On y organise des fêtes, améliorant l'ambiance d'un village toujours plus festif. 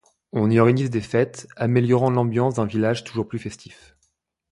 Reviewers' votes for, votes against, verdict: 0, 2, rejected